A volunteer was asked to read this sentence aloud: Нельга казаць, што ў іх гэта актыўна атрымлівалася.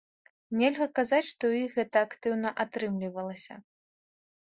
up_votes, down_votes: 3, 0